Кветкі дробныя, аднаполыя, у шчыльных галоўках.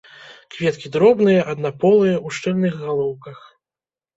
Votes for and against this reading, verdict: 2, 0, accepted